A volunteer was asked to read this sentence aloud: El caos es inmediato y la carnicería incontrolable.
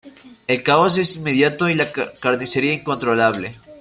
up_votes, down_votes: 1, 2